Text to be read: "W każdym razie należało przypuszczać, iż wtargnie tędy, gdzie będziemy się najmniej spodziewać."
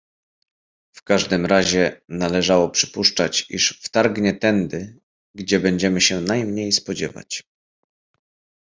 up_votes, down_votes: 2, 0